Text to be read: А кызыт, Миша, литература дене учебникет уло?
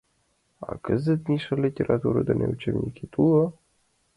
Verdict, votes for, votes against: accepted, 2, 0